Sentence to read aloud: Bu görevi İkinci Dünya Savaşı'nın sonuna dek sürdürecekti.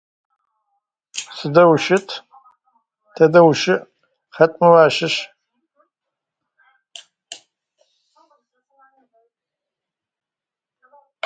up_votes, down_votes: 0, 2